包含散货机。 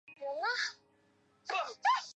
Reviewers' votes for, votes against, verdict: 0, 2, rejected